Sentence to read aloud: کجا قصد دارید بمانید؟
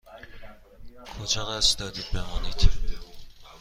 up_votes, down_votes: 2, 0